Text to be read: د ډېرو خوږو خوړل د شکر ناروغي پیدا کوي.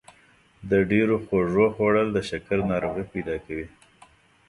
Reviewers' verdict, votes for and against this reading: accepted, 2, 0